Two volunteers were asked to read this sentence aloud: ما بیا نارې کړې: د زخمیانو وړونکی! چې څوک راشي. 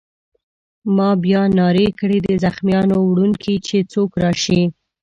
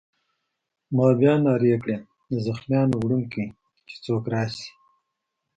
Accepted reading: second